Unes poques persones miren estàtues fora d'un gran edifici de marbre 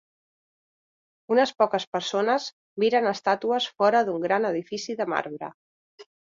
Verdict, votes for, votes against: accepted, 3, 0